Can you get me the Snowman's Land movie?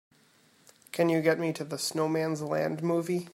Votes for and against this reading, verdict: 0, 2, rejected